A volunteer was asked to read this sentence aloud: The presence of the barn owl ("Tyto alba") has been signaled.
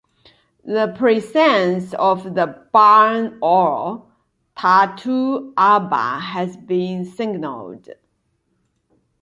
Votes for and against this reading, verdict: 0, 2, rejected